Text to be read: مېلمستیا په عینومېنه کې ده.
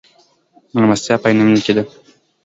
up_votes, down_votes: 2, 1